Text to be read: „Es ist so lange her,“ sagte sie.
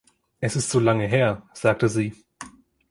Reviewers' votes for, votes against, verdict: 2, 0, accepted